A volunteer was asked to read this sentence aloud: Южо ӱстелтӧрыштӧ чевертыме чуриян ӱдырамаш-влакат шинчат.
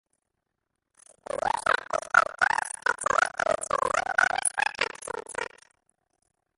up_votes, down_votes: 0, 2